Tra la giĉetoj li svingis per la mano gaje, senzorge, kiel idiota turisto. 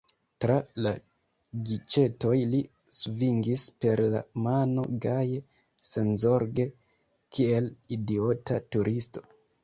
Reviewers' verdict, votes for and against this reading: accepted, 2, 0